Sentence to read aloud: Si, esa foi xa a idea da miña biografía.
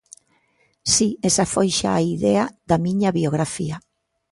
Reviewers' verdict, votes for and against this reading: accepted, 2, 0